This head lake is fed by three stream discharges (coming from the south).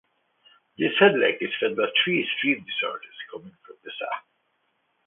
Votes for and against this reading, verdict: 2, 0, accepted